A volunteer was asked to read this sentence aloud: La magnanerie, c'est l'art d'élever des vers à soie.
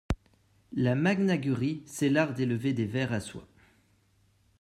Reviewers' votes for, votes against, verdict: 0, 2, rejected